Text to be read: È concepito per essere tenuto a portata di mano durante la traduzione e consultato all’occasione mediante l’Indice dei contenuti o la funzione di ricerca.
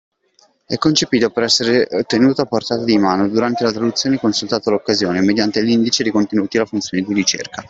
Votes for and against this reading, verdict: 2, 1, accepted